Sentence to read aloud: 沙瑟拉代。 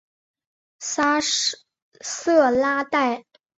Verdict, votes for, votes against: rejected, 2, 2